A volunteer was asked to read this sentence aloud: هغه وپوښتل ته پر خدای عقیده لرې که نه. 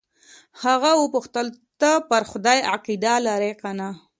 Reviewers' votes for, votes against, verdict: 2, 0, accepted